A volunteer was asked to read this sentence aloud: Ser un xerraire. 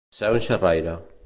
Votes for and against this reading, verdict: 0, 2, rejected